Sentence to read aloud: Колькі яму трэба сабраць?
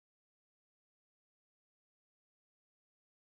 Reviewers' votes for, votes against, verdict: 1, 2, rejected